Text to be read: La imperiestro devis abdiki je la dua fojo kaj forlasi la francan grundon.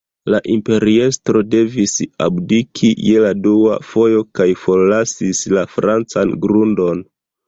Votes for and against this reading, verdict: 0, 2, rejected